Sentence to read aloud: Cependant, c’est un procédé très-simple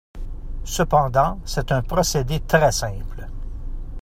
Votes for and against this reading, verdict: 0, 2, rejected